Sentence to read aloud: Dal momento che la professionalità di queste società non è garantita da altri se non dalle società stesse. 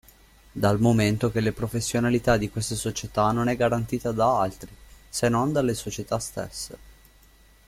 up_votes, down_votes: 0, 2